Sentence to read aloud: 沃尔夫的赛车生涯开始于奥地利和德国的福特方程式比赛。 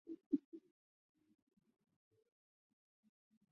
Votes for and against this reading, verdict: 0, 3, rejected